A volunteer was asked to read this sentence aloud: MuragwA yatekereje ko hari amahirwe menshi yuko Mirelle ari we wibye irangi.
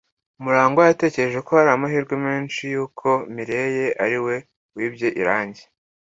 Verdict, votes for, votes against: accepted, 2, 1